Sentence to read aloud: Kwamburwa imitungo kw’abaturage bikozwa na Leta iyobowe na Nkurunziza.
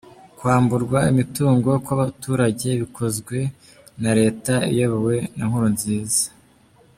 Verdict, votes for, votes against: rejected, 1, 2